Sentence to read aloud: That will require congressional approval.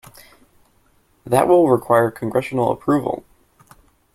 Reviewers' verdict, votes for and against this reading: accepted, 2, 0